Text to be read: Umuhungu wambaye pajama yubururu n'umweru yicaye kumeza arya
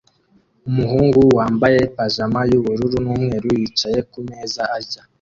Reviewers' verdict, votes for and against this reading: accepted, 2, 0